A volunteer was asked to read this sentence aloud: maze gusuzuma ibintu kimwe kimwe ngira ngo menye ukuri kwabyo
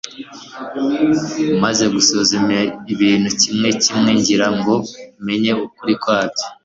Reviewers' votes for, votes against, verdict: 2, 0, accepted